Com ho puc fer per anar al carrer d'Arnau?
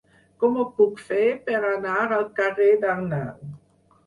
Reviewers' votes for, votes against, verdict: 4, 0, accepted